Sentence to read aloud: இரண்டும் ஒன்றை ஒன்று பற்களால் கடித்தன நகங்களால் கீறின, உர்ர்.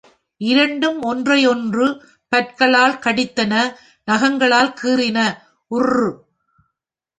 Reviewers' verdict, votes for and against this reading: rejected, 0, 2